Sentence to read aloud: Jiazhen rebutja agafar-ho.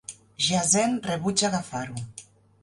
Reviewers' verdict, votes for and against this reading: accepted, 3, 1